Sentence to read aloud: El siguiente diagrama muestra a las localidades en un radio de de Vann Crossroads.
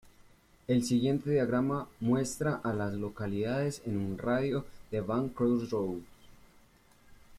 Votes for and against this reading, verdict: 1, 2, rejected